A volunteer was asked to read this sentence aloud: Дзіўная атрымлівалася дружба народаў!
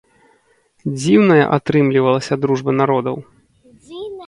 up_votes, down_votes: 2, 0